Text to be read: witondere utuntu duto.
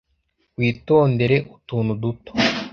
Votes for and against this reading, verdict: 2, 0, accepted